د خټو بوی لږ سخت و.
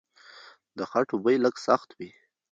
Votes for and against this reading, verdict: 1, 2, rejected